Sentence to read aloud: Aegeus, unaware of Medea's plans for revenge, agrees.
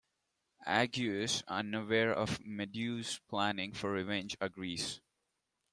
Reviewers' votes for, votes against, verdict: 2, 0, accepted